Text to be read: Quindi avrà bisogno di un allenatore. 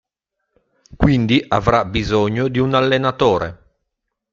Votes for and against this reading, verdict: 2, 0, accepted